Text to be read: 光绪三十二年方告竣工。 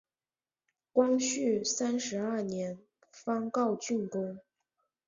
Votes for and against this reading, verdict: 2, 0, accepted